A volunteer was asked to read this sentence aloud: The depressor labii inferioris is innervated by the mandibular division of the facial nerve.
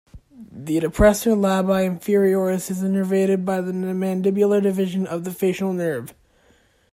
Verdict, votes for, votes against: rejected, 0, 2